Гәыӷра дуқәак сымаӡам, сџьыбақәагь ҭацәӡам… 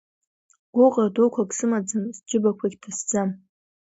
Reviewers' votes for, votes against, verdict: 2, 0, accepted